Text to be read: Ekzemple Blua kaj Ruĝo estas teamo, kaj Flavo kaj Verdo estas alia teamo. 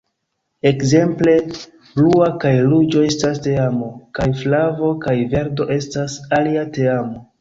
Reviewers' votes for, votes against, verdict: 3, 0, accepted